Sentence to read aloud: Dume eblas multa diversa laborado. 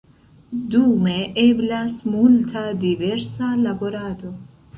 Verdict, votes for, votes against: rejected, 1, 2